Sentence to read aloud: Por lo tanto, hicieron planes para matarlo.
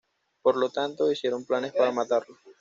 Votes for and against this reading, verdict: 0, 2, rejected